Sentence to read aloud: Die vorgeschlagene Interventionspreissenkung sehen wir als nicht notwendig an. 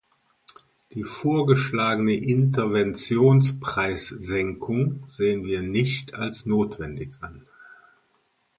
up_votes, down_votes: 0, 2